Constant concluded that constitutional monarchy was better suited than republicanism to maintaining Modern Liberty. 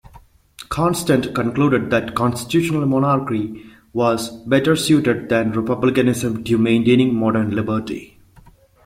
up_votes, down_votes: 1, 2